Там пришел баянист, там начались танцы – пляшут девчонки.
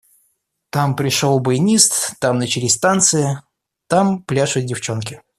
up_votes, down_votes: 0, 2